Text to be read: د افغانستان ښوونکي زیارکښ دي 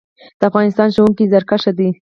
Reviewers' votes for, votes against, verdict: 2, 4, rejected